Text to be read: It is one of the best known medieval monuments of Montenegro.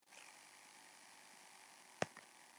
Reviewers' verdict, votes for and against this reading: rejected, 1, 2